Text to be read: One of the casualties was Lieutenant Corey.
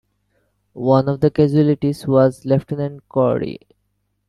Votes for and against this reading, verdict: 1, 2, rejected